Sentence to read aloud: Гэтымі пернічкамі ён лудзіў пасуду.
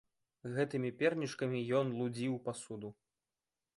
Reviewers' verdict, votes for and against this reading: accepted, 2, 0